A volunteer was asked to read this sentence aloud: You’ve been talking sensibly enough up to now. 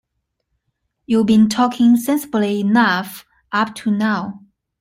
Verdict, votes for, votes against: accepted, 2, 0